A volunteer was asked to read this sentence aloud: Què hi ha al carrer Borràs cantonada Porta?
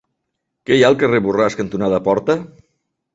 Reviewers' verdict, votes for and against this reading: accepted, 2, 0